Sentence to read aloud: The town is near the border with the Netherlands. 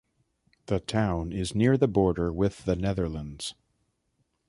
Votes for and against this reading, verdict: 2, 0, accepted